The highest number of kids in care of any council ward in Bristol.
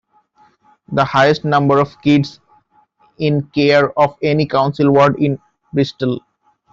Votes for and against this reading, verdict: 2, 1, accepted